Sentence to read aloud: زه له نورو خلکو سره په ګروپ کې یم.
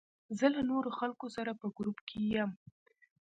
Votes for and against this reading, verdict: 2, 0, accepted